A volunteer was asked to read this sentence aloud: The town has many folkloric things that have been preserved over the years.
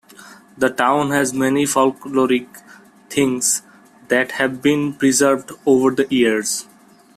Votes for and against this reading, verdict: 2, 1, accepted